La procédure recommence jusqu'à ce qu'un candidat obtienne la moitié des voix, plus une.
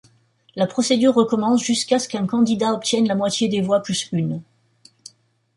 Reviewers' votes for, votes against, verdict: 2, 0, accepted